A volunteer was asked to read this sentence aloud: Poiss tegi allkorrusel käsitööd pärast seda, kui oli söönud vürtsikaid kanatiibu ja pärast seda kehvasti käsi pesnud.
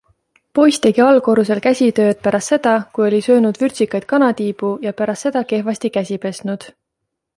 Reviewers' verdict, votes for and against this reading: accepted, 2, 0